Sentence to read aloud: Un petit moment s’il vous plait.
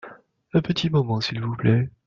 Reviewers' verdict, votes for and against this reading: accepted, 2, 0